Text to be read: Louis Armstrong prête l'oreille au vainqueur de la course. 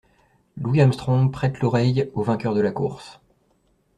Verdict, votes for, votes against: accepted, 2, 0